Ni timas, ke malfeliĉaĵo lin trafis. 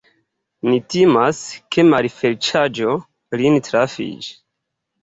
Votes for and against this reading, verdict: 0, 3, rejected